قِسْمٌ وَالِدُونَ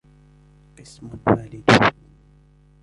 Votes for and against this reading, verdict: 1, 2, rejected